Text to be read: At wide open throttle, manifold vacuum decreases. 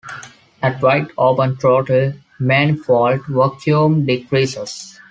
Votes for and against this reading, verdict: 0, 2, rejected